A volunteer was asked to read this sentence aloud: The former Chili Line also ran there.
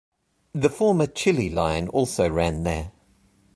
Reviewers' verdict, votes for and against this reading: accepted, 2, 0